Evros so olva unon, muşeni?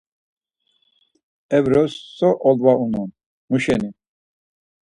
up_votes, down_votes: 4, 0